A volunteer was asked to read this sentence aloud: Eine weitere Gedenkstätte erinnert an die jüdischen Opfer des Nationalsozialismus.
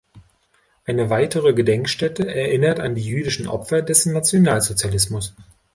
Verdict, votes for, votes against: accepted, 2, 1